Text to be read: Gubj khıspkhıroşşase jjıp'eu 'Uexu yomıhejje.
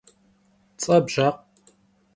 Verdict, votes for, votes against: rejected, 0, 2